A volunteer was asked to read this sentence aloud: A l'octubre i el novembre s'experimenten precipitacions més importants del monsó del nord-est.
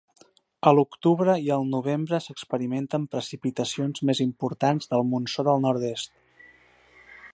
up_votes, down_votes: 3, 0